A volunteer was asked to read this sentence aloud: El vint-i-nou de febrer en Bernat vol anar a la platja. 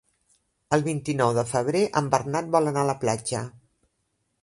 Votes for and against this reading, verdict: 2, 1, accepted